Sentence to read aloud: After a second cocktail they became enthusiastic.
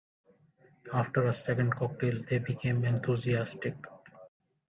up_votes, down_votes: 2, 1